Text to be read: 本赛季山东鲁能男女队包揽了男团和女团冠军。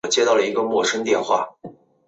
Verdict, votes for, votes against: rejected, 0, 2